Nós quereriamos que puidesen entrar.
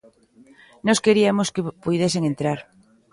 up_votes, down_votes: 0, 2